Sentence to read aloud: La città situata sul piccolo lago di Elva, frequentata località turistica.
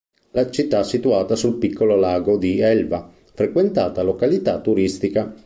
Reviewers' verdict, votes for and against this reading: accepted, 3, 0